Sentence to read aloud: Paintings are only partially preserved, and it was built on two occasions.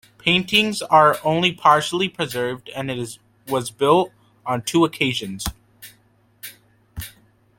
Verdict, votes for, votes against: rejected, 1, 2